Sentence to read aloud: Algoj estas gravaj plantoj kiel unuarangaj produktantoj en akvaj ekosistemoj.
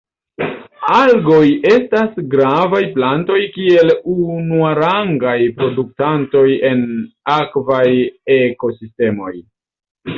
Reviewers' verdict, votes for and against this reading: rejected, 0, 2